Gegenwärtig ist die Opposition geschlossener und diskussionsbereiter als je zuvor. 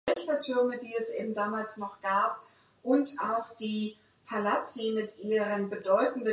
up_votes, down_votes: 0, 2